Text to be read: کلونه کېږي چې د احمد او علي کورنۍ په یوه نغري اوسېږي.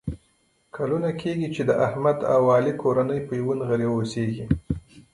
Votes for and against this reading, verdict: 1, 2, rejected